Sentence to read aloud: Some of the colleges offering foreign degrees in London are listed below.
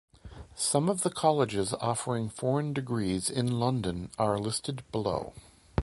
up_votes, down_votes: 2, 0